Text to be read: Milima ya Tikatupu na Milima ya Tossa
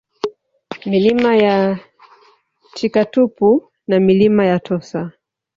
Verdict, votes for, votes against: rejected, 1, 2